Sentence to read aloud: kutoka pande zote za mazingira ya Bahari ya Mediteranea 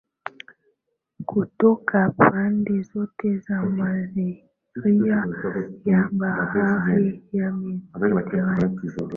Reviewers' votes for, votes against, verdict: 12, 10, accepted